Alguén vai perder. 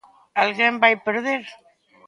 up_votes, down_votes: 2, 0